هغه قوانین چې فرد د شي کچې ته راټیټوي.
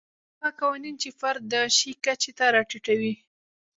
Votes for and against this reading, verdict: 2, 0, accepted